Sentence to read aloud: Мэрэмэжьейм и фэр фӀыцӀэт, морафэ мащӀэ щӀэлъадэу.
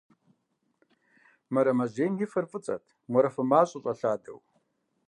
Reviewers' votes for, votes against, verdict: 2, 0, accepted